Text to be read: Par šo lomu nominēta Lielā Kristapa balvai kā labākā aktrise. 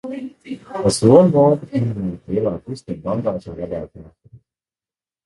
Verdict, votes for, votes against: rejected, 0, 2